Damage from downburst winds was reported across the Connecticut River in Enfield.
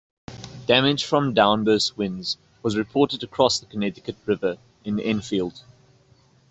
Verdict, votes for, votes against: accepted, 2, 0